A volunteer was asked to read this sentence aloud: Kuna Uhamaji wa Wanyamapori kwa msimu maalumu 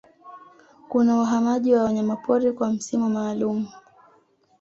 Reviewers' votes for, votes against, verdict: 2, 0, accepted